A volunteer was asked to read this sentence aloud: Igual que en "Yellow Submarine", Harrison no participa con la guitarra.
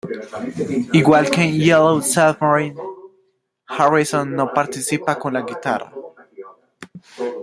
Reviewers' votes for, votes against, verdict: 2, 1, accepted